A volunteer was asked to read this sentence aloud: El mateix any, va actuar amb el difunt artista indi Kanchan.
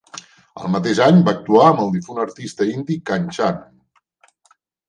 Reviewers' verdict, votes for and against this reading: accepted, 3, 0